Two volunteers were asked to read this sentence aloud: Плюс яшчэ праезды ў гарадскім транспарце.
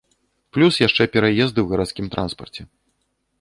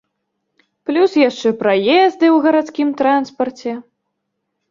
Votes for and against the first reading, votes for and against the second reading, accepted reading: 0, 2, 2, 0, second